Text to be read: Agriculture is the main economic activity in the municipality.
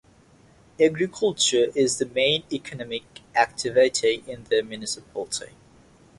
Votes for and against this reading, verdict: 3, 3, rejected